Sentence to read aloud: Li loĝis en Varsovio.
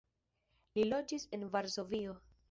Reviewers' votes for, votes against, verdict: 1, 2, rejected